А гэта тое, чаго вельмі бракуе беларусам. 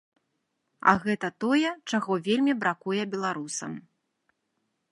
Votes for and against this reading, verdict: 2, 0, accepted